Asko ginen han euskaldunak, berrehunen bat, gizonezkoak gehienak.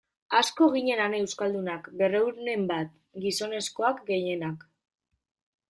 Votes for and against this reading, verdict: 3, 0, accepted